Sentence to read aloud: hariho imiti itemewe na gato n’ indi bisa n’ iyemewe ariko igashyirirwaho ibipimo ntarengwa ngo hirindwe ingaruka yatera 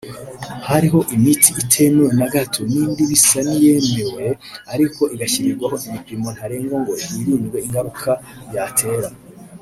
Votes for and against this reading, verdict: 1, 2, rejected